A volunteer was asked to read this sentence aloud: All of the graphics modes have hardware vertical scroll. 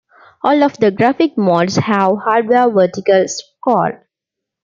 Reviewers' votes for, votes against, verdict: 1, 2, rejected